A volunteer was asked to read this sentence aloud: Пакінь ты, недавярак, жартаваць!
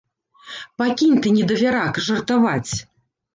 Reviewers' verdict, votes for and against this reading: rejected, 1, 2